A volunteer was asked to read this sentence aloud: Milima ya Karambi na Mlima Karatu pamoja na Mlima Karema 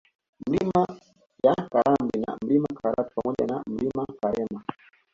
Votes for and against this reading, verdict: 1, 2, rejected